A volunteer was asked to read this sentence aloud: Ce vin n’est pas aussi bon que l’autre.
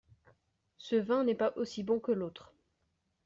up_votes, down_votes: 2, 0